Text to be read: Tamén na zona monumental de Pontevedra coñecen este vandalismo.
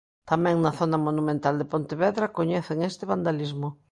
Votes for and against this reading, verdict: 2, 0, accepted